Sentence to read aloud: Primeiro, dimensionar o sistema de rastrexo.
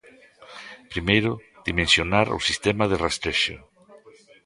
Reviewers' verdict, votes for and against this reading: rejected, 1, 2